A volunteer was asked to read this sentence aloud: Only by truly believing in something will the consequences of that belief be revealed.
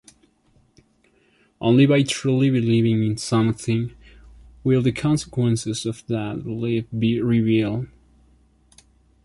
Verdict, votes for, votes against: rejected, 0, 2